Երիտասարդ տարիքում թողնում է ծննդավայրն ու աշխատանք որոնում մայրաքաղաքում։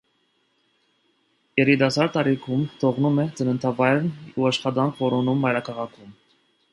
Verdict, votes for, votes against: accepted, 2, 0